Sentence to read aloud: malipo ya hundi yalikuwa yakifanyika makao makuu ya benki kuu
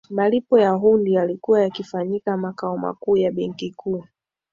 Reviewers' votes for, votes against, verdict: 2, 0, accepted